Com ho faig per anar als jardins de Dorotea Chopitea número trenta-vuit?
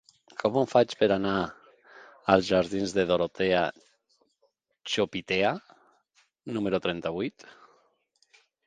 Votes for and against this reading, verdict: 3, 0, accepted